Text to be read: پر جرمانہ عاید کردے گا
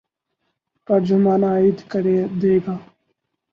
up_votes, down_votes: 2, 2